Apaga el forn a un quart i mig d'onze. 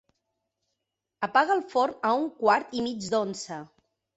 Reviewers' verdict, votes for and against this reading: accepted, 4, 0